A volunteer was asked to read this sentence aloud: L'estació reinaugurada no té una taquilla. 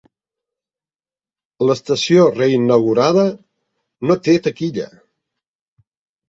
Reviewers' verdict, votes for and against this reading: rejected, 1, 2